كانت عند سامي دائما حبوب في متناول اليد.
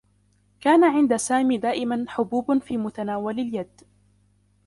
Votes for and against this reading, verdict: 0, 2, rejected